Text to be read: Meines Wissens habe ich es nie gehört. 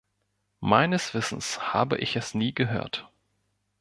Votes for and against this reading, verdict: 2, 0, accepted